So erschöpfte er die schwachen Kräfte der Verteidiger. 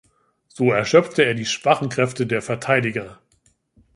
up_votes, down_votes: 2, 0